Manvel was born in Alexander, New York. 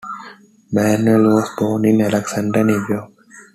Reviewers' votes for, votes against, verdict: 1, 2, rejected